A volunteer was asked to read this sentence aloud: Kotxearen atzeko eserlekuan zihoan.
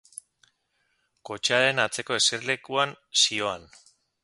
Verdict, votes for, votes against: accepted, 2, 0